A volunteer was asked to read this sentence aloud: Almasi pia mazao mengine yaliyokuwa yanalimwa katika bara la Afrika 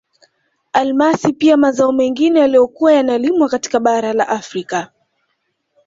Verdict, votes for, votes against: accepted, 2, 1